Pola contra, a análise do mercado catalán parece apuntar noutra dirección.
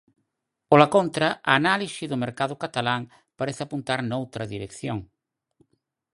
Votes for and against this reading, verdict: 4, 0, accepted